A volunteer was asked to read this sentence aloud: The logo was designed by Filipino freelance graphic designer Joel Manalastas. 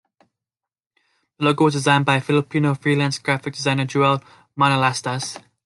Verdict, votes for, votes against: rejected, 1, 2